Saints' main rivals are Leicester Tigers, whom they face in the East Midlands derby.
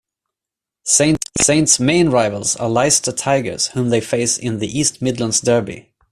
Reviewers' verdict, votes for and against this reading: rejected, 0, 2